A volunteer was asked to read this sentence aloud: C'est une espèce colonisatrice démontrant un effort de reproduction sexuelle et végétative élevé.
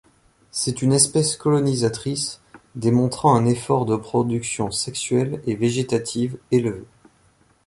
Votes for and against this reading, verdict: 3, 0, accepted